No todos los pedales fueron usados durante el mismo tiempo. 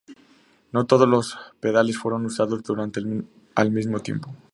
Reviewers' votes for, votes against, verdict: 0, 2, rejected